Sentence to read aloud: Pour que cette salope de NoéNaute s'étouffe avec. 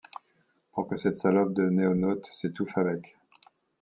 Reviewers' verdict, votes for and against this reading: rejected, 1, 2